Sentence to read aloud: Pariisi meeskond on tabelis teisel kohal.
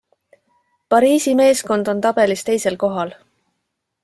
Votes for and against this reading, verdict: 2, 0, accepted